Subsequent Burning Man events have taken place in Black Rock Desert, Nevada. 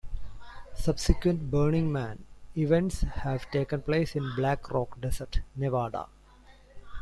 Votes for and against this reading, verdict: 2, 1, accepted